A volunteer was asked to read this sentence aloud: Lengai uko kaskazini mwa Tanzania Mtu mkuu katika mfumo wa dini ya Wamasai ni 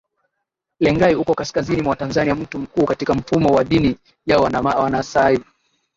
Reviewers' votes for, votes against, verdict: 2, 3, rejected